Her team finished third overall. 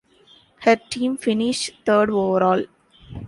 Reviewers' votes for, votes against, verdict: 1, 2, rejected